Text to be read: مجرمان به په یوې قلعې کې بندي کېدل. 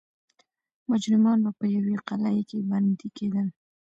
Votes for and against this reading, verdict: 2, 0, accepted